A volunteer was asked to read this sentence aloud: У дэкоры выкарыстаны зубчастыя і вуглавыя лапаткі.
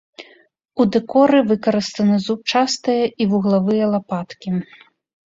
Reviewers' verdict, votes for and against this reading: accepted, 3, 0